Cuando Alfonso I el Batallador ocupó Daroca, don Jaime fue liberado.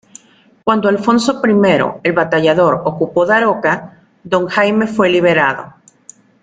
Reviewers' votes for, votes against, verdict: 2, 0, accepted